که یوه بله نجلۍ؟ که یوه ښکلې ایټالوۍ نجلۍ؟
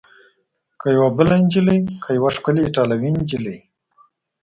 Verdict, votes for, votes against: accepted, 2, 0